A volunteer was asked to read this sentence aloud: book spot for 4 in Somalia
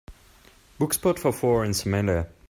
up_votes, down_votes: 0, 2